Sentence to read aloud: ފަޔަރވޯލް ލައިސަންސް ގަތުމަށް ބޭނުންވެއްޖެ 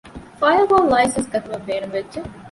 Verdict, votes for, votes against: rejected, 0, 2